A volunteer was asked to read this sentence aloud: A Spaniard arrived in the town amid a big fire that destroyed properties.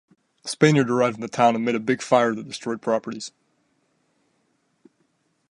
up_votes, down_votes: 2, 0